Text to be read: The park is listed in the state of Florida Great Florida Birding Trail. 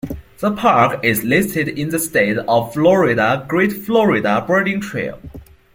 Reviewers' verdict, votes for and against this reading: accepted, 2, 0